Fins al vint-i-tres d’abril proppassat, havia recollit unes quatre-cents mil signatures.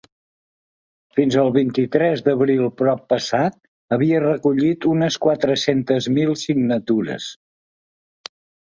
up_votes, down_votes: 1, 2